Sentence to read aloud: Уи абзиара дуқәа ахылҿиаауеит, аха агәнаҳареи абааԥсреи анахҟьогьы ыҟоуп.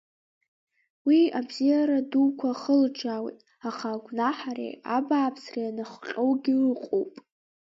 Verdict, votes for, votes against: rejected, 1, 2